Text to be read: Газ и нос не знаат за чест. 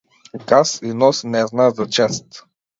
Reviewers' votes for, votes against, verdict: 2, 0, accepted